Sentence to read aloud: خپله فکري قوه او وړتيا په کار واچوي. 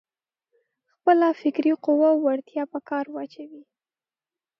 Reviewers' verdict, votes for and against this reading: accepted, 3, 0